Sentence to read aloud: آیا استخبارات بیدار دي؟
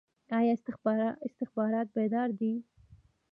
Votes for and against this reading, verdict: 2, 0, accepted